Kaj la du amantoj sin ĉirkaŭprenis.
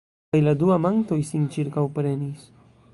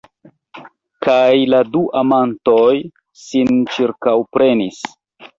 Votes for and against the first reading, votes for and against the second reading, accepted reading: 1, 2, 2, 1, second